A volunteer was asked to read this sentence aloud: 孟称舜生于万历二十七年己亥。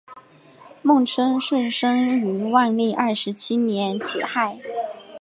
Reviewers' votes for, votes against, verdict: 2, 1, accepted